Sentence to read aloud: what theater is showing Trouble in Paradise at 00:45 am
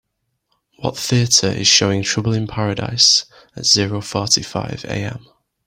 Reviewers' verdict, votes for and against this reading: rejected, 0, 2